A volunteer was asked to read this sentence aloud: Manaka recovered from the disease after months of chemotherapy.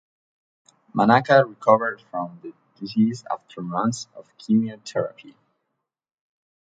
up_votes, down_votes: 1, 2